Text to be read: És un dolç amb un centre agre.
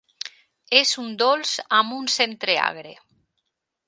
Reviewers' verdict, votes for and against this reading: accepted, 2, 0